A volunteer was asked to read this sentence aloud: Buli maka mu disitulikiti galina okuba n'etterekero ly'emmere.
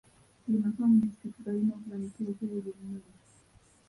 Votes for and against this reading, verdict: 0, 2, rejected